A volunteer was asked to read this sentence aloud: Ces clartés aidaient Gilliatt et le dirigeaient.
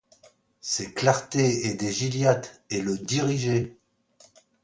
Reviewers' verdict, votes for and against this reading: accepted, 2, 0